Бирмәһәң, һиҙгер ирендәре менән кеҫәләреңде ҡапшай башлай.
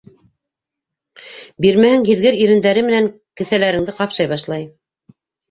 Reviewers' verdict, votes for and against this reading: rejected, 1, 2